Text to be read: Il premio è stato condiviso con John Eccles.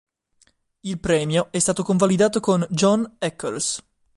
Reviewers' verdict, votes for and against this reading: rejected, 3, 4